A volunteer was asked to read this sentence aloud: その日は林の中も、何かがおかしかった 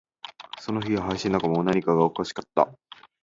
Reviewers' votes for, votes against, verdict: 2, 0, accepted